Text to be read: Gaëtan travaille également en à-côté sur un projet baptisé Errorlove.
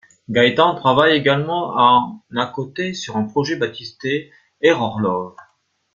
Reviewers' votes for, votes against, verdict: 2, 1, accepted